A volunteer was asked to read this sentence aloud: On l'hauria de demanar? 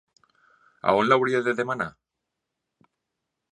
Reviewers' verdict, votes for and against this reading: rejected, 0, 2